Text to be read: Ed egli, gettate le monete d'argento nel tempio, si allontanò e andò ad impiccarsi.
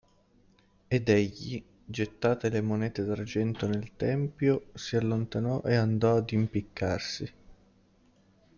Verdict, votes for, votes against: accepted, 2, 0